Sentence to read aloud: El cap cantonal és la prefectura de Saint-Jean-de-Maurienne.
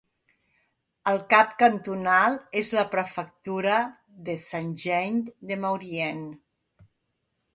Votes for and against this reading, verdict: 2, 0, accepted